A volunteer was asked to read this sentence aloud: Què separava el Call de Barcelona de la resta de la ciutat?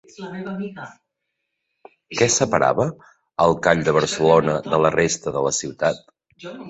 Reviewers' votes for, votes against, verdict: 1, 2, rejected